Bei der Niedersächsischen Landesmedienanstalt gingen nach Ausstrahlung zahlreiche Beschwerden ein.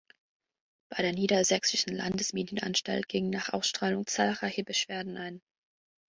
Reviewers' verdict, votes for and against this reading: accepted, 2, 0